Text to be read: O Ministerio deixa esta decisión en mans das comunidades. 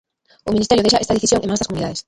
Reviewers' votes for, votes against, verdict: 0, 2, rejected